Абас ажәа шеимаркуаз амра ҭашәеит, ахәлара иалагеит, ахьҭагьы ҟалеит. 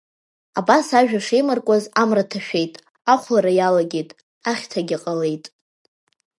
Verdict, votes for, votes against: accepted, 2, 0